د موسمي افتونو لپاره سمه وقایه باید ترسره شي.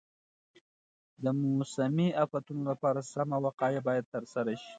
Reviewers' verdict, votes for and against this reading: accepted, 2, 0